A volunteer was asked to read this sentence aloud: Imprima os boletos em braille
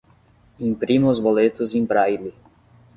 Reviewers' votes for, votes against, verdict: 10, 0, accepted